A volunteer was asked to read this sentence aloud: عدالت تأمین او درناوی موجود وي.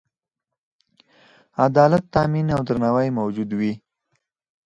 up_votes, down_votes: 4, 0